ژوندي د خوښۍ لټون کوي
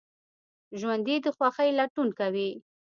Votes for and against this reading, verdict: 2, 0, accepted